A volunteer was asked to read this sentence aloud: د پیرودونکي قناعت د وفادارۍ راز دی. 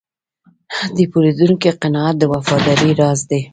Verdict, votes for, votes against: accepted, 2, 1